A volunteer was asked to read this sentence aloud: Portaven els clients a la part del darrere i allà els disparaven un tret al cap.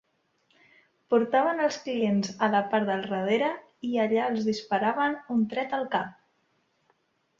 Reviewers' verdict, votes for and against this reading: rejected, 1, 2